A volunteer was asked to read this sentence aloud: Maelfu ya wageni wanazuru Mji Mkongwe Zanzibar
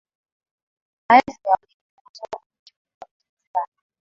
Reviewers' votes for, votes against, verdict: 0, 6, rejected